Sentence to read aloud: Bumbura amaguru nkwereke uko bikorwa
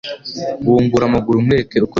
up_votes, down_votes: 1, 2